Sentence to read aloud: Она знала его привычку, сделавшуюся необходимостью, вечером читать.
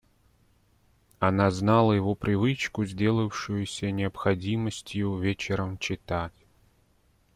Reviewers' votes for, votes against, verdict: 2, 0, accepted